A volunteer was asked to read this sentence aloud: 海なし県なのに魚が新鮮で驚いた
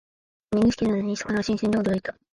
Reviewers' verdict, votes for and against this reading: rejected, 0, 2